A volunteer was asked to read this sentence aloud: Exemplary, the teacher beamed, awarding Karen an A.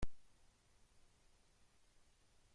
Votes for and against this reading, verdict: 0, 2, rejected